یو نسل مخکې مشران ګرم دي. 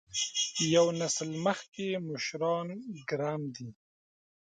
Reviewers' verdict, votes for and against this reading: rejected, 0, 2